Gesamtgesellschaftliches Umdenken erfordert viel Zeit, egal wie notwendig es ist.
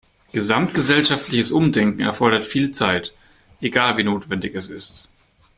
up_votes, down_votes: 2, 0